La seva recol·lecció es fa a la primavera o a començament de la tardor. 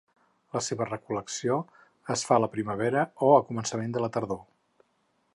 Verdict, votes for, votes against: accepted, 4, 0